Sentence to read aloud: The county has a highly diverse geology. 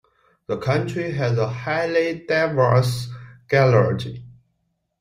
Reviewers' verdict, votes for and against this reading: rejected, 0, 2